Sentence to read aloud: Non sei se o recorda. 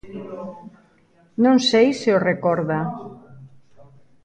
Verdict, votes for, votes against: rejected, 1, 2